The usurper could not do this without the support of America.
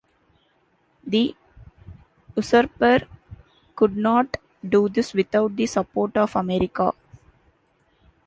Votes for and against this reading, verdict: 0, 2, rejected